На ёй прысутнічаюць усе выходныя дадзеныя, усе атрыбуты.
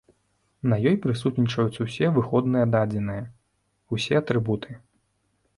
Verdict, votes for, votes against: accepted, 2, 0